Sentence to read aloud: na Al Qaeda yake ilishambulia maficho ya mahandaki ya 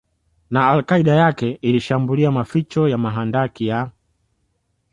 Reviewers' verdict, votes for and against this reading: accepted, 2, 0